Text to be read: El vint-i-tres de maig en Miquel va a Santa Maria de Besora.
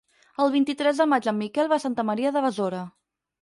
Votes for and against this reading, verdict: 6, 0, accepted